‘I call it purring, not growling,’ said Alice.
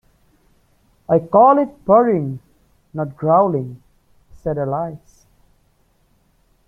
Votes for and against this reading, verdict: 1, 2, rejected